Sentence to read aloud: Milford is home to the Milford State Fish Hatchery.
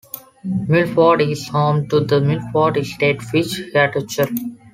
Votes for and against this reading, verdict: 0, 2, rejected